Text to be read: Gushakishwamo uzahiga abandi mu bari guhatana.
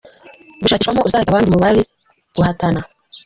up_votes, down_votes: 0, 2